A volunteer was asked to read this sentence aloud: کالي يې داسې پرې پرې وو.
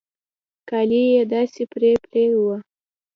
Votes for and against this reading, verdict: 2, 0, accepted